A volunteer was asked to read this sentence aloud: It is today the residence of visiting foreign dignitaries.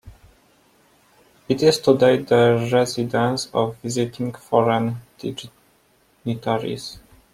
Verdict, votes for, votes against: accepted, 2, 1